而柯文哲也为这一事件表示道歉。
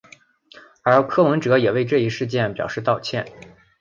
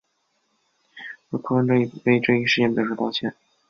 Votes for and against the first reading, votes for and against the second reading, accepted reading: 2, 0, 0, 3, first